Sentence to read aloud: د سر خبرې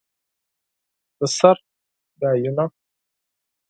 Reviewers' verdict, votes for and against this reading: rejected, 2, 4